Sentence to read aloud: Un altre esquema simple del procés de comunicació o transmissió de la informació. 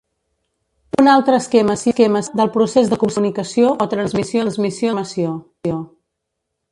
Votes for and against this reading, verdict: 1, 2, rejected